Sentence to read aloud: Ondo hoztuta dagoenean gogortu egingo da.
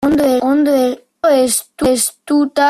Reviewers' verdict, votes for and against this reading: rejected, 0, 2